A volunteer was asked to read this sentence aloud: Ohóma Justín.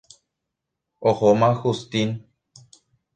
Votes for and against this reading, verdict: 1, 2, rejected